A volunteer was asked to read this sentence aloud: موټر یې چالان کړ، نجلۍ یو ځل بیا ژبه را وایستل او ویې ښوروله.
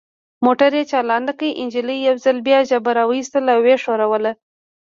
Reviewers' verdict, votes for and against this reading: rejected, 1, 2